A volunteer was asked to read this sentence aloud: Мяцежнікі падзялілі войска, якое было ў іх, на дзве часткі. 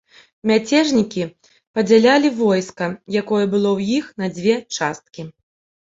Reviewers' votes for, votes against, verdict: 0, 2, rejected